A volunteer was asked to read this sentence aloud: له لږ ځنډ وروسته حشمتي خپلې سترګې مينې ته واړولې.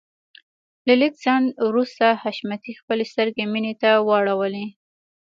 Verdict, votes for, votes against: accepted, 2, 0